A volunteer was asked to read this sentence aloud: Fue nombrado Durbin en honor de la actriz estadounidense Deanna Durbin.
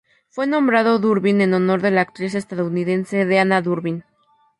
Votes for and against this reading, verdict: 0, 2, rejected